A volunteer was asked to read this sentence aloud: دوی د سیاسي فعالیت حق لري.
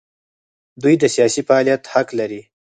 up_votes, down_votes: 6, 2